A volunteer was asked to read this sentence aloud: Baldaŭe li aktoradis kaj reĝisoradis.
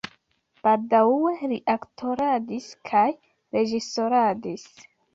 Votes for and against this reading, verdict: 2, 0, accepted